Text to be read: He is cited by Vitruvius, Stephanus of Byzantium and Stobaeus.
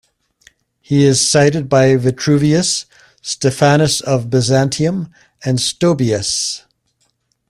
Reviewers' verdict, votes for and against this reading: accepted, 2, 0